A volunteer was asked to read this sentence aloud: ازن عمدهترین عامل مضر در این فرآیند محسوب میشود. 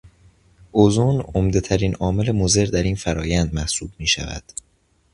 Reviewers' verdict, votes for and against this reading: accepted, 2, 0